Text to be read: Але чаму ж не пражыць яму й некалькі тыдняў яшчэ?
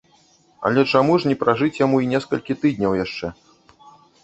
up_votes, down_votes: 0, 2